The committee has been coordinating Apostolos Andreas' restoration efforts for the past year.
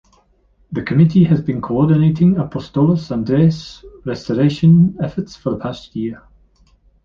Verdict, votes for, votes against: rejected, 0, 2